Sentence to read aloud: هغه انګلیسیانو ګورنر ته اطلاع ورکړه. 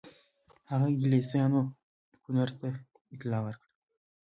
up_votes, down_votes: 2, 0